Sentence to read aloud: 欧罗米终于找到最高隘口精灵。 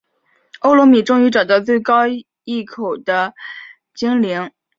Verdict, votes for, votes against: accepted, 5, 4